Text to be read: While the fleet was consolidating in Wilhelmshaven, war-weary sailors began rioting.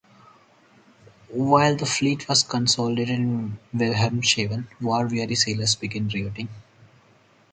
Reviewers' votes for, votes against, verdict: 2, 2, rejected